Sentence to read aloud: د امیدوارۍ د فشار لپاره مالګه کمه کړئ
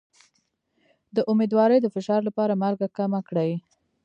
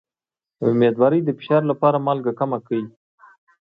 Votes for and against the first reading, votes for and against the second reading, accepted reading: 1, 2, 2, 0, second